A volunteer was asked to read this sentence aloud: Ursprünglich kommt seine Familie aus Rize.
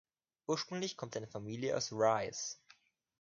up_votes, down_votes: 2, 0